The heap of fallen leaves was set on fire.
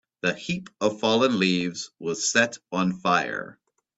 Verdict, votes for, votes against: accepted, 2, 0